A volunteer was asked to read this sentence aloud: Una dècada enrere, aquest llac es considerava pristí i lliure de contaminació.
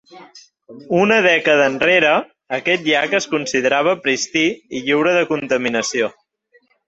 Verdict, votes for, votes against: accepted, 2, 0